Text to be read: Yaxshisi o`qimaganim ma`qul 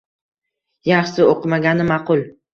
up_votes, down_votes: 1, 2